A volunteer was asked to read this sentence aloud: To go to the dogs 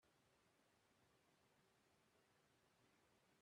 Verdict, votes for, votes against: rejected, 0, 2